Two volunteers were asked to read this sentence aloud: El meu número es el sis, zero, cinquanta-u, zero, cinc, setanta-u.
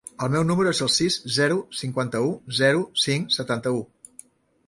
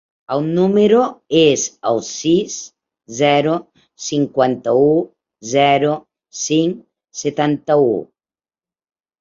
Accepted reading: first